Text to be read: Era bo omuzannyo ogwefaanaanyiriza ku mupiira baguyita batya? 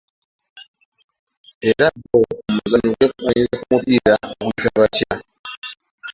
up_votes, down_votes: 0, 2